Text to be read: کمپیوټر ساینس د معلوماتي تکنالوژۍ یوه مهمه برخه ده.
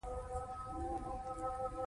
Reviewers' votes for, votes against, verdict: 2, 1, accepted